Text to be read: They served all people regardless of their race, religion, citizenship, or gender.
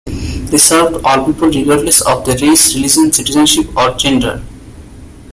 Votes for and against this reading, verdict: 1, 2, rejected